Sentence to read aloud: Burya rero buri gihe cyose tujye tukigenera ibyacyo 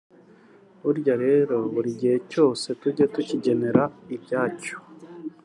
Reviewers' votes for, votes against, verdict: 0, 2, rejected